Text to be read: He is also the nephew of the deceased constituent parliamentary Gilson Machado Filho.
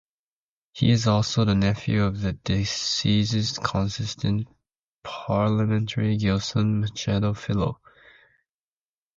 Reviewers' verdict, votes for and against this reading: accepted, 2, 0